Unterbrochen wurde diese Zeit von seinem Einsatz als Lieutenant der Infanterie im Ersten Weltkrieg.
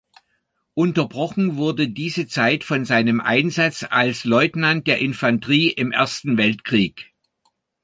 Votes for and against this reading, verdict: 0, 2, rejected